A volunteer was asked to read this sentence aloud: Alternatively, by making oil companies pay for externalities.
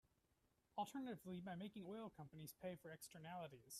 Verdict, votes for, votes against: rejected, 1, 2